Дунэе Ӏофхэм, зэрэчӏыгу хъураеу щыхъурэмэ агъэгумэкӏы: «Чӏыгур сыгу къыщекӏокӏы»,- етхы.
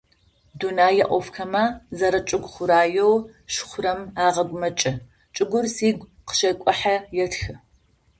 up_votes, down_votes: 0, 2